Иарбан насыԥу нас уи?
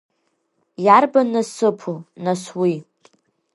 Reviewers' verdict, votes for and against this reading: accepted, 2, 0